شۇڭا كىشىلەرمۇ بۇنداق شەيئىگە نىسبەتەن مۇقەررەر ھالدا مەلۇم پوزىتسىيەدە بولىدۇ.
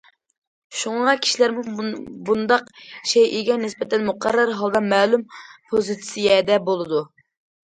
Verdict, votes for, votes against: accepted, 2, 1